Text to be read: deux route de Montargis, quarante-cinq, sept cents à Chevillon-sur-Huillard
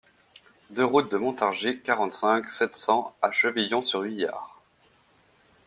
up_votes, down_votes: 2, 0